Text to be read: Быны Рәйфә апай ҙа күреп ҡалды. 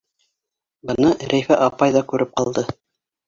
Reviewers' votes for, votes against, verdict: 2, 0, accepted